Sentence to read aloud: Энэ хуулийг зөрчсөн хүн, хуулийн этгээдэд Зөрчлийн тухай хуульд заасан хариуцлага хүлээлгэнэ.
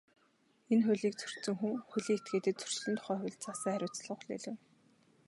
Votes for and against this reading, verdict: 2, 0, accepted